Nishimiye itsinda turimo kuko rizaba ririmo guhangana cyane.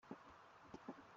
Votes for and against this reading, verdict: 0, 3, rejected